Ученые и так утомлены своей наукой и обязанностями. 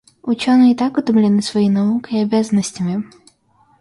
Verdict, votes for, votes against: accepted, 2, 0